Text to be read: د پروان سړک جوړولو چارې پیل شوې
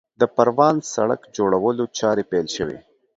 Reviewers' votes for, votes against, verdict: 2, 0, accepted